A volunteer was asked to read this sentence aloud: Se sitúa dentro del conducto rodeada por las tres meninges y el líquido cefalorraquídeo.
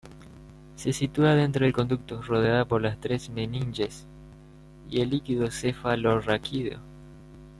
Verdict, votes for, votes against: accepted, 2, 1